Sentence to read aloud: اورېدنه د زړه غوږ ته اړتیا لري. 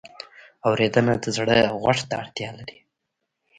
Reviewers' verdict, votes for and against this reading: rejected, 0, 2